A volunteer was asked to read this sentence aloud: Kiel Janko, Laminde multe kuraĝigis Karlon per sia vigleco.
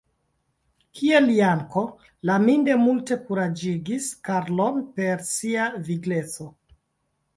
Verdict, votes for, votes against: accepted, 2, 1